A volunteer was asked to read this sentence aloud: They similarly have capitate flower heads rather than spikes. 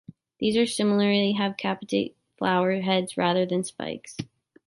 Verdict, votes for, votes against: rejected, 1, 2